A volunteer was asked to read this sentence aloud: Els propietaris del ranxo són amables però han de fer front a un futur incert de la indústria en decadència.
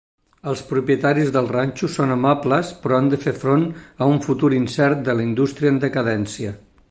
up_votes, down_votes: 3, 0